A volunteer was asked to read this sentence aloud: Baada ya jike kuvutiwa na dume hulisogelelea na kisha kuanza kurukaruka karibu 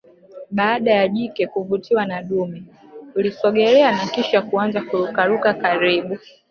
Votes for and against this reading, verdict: 2, 0, accepted